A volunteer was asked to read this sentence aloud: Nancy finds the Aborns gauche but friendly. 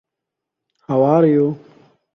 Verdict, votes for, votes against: rejected, 0, 2